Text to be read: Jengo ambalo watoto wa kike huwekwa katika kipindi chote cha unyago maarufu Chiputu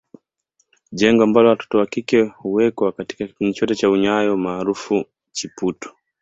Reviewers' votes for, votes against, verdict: 0, 2, rejected